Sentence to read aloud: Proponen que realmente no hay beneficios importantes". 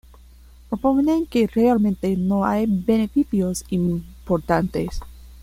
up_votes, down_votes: 0, 2